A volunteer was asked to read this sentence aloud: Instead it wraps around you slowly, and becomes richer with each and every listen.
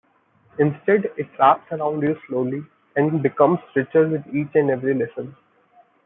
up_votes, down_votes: 1, 2